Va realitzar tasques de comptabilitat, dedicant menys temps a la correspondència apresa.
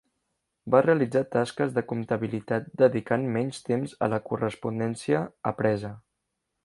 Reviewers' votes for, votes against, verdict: 3, 0, accepted